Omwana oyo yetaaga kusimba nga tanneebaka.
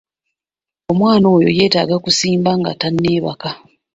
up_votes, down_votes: 2, 0